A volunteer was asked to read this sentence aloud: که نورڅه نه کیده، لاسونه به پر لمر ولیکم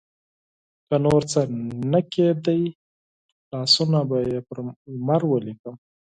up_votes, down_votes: 6, 4